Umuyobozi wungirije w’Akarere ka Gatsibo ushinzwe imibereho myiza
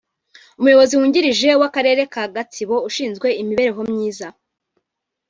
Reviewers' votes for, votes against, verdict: 2, 0, accepted